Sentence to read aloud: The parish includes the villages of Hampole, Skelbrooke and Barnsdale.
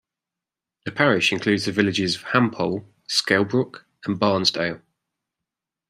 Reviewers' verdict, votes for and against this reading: accepted, 2, 0